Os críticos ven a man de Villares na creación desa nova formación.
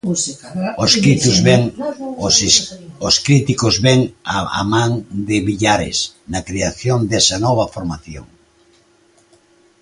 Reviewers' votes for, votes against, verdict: 0, 3, rejected